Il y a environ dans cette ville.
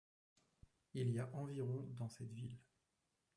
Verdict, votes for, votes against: rejected, 0, 2